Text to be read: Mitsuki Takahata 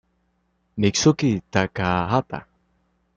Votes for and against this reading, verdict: 2, 0, accepted